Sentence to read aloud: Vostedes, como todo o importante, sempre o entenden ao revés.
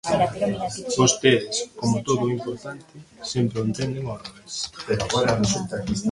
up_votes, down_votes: 1, 2